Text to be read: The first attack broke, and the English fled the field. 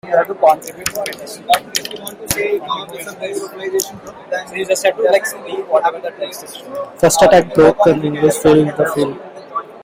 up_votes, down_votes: 0, 2